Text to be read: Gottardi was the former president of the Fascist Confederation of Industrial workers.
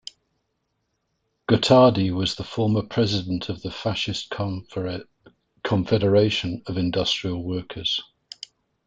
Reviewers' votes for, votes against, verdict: 0, 2, rejected